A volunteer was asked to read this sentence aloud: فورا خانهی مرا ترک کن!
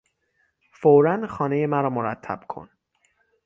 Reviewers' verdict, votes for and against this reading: rejected, 3, 6